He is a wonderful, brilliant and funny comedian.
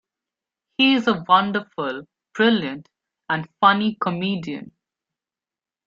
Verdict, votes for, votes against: accepted, 2, 0